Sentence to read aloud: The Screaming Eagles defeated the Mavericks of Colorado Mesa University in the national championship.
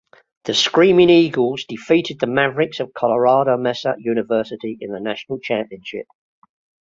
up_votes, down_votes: 2, 0